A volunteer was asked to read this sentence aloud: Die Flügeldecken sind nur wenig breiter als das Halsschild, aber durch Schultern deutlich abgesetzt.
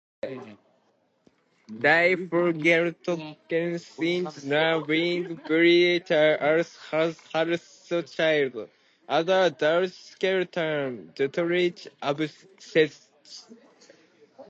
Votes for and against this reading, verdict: 0, 2, rejected